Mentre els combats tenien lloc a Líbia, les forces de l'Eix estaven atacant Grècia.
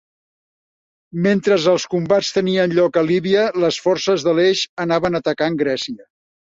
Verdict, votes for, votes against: accepted, 3, 2